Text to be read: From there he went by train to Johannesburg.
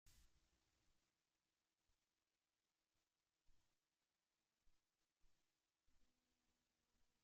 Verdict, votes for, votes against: rejected, 0, 2